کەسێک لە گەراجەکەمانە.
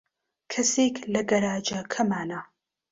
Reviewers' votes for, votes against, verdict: 3, 1, accepted